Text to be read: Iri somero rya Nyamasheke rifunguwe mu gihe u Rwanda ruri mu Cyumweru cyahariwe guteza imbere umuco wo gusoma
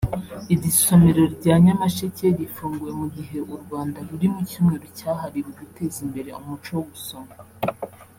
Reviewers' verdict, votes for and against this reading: accepted, 3, 1